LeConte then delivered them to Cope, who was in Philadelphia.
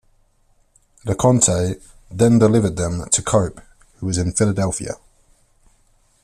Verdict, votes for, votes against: accepted, 2, 0